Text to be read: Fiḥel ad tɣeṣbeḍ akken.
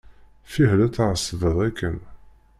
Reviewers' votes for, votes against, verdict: 1, 2, rejected